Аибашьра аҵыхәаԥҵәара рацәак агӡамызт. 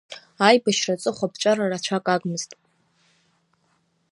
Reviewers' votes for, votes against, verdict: 2, 0, accepted